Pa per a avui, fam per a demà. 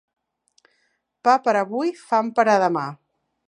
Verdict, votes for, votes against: accepted, 2, 0